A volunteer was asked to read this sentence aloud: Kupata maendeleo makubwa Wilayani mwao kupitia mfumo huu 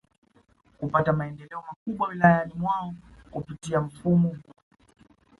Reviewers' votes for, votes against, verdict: 1, 2, rejected